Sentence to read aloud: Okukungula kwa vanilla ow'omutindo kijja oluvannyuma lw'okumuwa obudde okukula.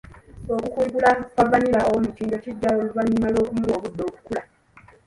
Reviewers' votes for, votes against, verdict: 0, 2, rejected